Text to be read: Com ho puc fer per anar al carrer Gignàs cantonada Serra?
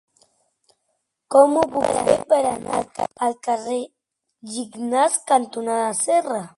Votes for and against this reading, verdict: 2, 1, accepted